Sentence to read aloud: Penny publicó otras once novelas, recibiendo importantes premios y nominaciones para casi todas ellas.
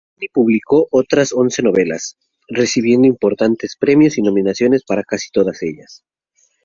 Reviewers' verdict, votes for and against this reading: rejected, 2, 2